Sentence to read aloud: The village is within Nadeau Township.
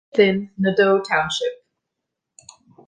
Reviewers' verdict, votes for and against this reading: rejected, 0, 2